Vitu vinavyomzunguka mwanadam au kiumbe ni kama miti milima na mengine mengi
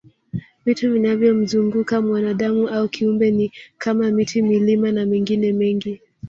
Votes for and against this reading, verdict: 0, 2, rejected